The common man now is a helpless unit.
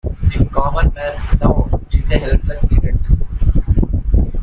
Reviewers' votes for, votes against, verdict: 1, 2, rejected